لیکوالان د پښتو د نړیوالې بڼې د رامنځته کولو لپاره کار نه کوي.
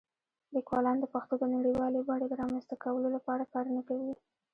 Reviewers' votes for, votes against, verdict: 1, 2, rejected